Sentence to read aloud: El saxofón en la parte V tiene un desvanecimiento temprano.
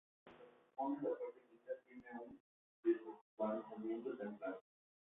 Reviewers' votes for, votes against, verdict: 0, 2, rejected